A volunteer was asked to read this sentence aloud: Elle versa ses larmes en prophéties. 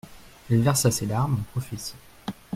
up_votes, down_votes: 0, 2